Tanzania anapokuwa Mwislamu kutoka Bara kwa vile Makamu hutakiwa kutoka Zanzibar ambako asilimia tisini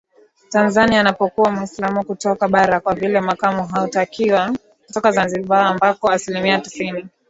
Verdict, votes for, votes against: accepted, 2, 1